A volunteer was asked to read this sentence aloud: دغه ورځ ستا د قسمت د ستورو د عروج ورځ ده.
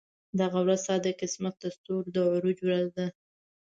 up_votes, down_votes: 2, 0